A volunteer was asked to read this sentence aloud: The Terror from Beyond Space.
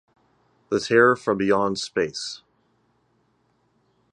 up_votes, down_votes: 2, 0